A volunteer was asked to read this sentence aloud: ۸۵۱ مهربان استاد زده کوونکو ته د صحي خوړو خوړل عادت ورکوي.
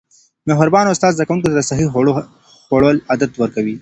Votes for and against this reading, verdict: 0, 2, rejected